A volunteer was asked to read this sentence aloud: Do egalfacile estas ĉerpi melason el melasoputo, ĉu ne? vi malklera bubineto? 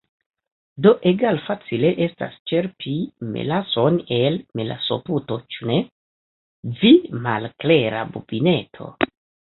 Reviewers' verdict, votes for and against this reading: rejected, 1, 2